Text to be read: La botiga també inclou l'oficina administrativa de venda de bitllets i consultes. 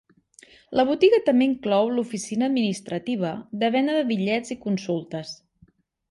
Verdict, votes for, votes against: accepted, 2, 0